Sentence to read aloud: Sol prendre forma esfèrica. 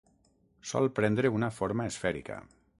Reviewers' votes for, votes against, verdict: 0, 6, rejected